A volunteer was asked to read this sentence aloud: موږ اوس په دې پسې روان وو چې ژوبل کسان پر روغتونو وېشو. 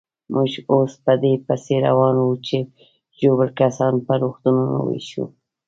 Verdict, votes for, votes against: accepted, 2, 0